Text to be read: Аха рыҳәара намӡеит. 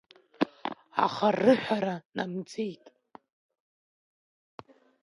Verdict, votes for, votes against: rejected, 1, 2